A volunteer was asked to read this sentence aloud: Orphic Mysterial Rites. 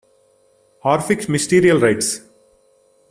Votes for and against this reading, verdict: 2, 1, accepted